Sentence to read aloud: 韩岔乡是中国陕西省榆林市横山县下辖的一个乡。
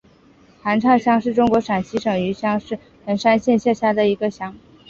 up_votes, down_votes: 7, 1